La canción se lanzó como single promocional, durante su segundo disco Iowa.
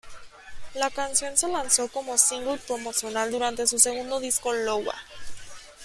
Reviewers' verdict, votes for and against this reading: accepted, 2, 1